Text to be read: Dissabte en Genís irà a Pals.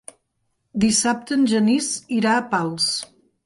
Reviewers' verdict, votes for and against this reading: accepted, 5, 0